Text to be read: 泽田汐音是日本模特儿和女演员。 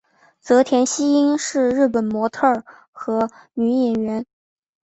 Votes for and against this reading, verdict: 5, 0, accepted